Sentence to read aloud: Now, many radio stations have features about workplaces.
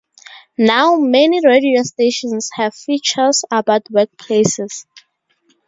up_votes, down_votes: 2, 0